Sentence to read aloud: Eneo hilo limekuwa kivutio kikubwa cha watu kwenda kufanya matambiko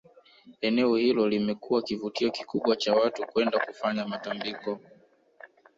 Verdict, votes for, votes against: accepted, 2, 0